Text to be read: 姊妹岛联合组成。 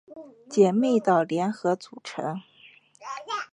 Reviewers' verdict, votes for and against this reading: rejected, 1, 2